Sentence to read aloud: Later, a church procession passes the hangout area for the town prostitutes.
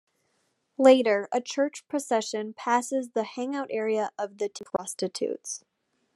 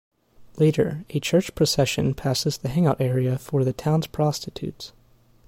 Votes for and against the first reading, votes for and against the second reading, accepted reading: 0, 2, 2, 0, second